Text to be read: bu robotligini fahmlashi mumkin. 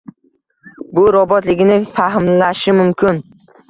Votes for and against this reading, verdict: 1, 2, rejected